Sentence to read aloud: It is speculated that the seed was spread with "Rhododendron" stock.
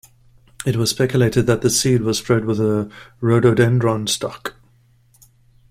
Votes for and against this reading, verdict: 0, 2, rejected